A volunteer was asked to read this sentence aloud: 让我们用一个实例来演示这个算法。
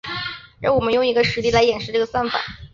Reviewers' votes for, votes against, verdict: 2, 0, accepted